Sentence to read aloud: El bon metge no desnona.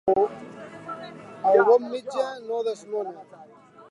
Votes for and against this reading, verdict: 1, 2, rejected